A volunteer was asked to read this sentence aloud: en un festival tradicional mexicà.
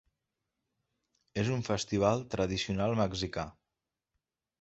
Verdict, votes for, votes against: accepted, 2, 1